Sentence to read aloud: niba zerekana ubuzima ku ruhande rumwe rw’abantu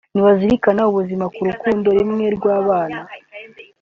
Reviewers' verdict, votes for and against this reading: rejected, 1, 2